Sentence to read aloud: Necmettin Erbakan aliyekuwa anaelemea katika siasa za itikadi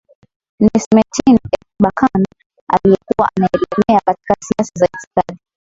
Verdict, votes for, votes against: rejected, 0, 2